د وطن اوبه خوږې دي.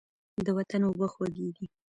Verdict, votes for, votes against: rejected, 0, 2